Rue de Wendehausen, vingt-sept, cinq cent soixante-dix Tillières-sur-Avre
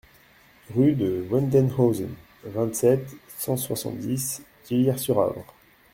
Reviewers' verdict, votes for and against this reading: rejected, 0, 2